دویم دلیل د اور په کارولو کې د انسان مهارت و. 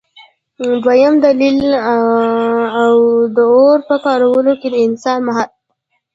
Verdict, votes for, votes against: rejected, 1, 2